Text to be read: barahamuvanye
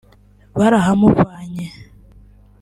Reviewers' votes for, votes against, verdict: 2, 1, accepted